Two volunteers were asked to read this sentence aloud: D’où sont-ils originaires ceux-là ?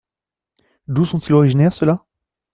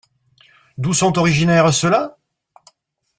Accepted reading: first